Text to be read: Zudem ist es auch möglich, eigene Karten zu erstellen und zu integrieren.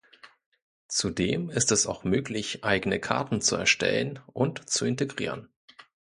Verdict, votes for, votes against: accepted, 2, 0